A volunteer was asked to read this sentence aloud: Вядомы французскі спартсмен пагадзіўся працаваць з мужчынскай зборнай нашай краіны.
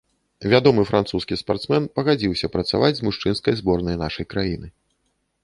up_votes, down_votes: 2, 0